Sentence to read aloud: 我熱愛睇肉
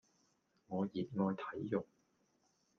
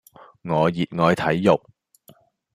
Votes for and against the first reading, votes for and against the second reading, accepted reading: 1, 2, 2, 0, second